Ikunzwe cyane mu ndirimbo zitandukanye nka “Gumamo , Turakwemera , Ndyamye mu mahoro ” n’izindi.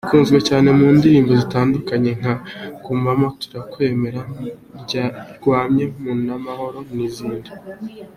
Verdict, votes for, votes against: accepted, 2, 1